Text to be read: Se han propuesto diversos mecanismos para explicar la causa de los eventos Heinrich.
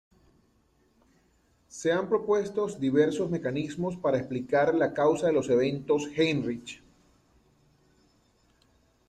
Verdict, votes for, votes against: rejected, 1, 2